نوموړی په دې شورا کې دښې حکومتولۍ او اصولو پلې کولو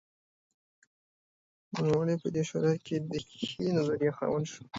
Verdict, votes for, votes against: rejected, 1, 2